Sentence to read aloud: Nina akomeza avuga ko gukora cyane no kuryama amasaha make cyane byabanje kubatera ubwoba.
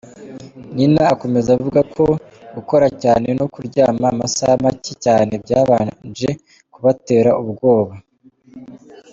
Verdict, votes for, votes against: accepted, 2, 0